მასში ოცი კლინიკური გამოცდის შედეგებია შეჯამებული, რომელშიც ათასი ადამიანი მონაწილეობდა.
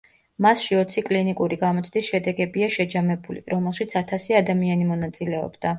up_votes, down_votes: 2, 0